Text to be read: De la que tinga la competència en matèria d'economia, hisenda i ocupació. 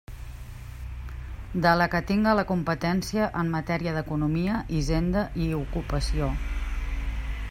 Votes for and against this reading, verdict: 1, 2, rejected